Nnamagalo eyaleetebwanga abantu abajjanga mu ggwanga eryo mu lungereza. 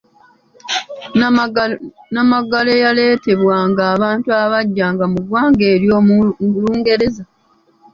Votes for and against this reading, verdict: 2, 0, accepted